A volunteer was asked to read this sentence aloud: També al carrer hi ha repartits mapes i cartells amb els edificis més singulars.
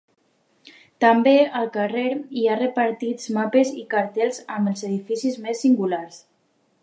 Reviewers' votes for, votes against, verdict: 2, 0, accepted